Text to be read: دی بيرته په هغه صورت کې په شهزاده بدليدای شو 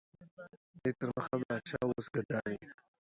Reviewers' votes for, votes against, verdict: 1, 2, rejected